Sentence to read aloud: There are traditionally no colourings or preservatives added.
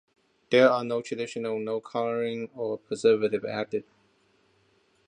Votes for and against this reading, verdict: 0, 2, rejected